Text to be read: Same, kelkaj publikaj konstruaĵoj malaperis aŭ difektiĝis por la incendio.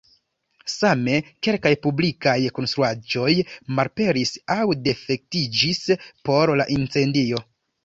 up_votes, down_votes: 1, 2